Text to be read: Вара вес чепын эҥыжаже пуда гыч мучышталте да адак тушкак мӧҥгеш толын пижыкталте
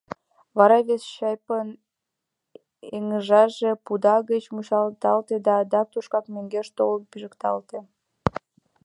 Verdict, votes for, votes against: rejected, 0, 2